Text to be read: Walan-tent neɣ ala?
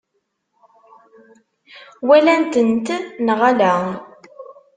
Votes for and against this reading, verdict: 1, 2, rejected